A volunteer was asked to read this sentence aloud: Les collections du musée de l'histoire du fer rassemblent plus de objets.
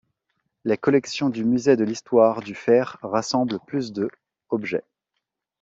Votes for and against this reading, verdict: 2, 0, accepted